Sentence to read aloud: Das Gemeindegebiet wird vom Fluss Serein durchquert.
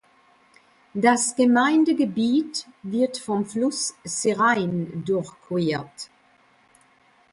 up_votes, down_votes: 2, 0